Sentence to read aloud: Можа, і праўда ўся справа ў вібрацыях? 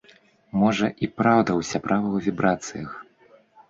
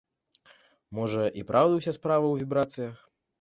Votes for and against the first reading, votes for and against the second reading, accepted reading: 0, 2, 2, 0, second